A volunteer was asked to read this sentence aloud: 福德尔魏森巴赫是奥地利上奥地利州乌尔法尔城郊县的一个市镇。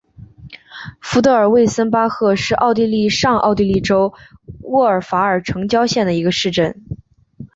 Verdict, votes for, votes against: accepted, 4, 1